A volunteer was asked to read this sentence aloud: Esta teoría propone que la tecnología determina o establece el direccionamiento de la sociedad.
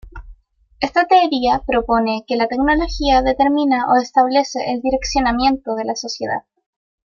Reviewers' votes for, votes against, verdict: 2, 1, accepted